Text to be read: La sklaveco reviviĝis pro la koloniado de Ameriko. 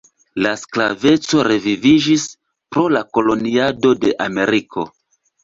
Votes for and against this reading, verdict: 2, 0, accepted